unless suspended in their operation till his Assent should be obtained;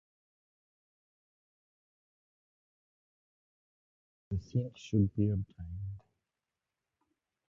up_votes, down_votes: 0, 2